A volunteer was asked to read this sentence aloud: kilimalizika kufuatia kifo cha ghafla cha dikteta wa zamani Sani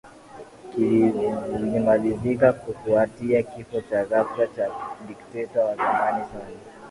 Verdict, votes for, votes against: rejected, 0, 2